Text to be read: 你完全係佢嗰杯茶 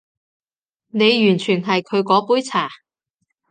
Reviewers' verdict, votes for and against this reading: accepted, 2, 0